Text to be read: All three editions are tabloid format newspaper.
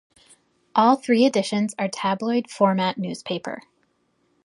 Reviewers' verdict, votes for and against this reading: accepted, 2, 0